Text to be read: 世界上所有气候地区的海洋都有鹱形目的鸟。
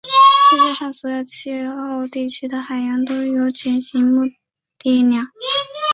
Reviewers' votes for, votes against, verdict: 2, 3, rejected